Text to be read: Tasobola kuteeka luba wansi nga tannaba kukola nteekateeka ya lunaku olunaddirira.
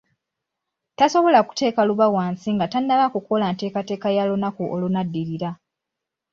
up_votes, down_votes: 2, 0